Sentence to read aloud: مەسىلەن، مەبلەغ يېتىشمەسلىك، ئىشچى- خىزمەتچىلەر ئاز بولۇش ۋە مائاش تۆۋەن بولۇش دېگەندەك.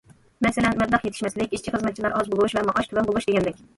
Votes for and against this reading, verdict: 0, 2, rejected